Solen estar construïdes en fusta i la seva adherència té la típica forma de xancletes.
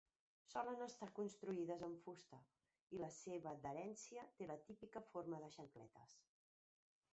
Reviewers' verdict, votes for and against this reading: accepted, 2, 0